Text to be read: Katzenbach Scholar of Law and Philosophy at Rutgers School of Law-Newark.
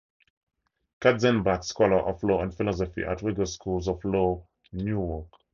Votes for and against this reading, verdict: 2, 4, rejected